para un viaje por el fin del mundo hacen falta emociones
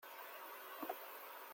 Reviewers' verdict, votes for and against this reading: rejected, 0, 2